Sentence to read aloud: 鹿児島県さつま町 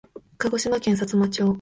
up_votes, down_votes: 3, 0